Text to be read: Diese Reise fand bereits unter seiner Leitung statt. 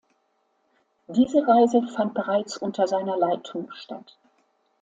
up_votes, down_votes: 2, 0